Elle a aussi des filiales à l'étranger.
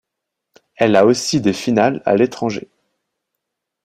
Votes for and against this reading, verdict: 0, 2, rejected